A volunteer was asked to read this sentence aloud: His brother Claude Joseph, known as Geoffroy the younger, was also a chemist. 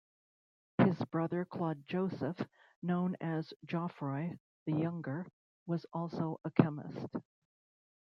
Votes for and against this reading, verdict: 1, 2, rejected